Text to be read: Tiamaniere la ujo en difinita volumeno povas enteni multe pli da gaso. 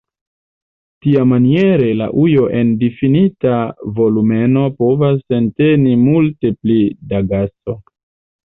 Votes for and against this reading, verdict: 3, 0, accepted